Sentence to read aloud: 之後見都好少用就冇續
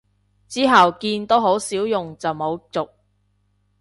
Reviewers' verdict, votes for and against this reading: accepted, 2, 0